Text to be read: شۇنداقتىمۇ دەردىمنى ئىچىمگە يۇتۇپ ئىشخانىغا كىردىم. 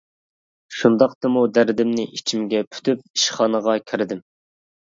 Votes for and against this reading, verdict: 0, 2, rejected